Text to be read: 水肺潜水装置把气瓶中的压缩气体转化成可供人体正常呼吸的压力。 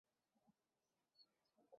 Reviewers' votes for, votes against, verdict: 0, 4, rejected